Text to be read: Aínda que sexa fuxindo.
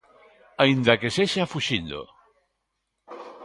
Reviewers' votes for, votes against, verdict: 3, 0, accepted